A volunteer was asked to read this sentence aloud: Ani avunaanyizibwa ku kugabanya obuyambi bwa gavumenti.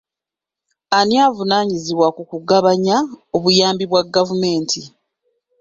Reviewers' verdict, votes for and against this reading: accepted, 2, 0